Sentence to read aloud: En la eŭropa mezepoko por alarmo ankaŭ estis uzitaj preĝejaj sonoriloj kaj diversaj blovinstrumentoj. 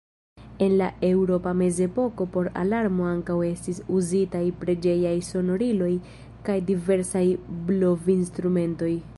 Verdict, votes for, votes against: accepted, 2, 0